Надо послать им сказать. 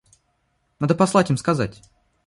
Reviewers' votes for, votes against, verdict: 2, 0, accepted